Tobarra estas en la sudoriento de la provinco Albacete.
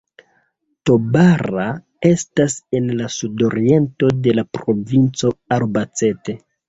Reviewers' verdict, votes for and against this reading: accepted, 2, 1